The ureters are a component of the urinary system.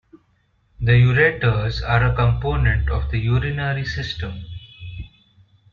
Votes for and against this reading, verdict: 0, 2, rejected